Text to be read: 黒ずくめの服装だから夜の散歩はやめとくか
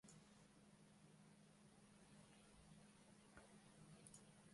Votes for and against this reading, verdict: 5, 16, rejected